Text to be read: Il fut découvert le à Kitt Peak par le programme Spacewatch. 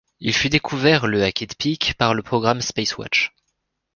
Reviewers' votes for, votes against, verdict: 2, 0, accepted